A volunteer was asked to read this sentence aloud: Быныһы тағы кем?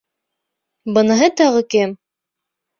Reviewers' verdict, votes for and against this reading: accepted, 2, 1